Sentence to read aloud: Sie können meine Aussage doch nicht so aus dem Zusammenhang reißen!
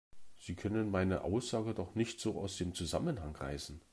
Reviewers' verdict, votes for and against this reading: accepted, 2, 0